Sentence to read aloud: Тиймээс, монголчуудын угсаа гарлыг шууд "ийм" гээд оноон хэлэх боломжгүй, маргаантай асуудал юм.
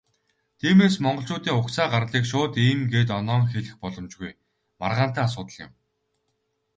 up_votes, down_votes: 2, 0